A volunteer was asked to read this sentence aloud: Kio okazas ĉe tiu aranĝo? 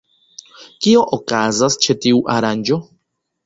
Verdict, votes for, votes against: accepted, 2, 0